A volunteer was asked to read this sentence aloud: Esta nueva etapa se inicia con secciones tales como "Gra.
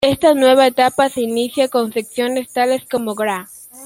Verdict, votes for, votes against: accepted, 2, 0